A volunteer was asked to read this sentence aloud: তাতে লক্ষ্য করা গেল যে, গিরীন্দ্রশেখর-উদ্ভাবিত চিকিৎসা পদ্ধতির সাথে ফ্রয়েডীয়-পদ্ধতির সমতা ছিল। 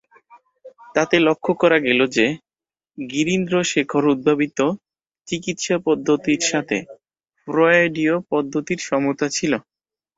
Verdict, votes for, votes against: accepted, 4, 0